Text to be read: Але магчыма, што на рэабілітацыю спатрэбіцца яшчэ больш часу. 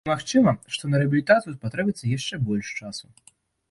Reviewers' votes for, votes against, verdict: 0, 2, rejected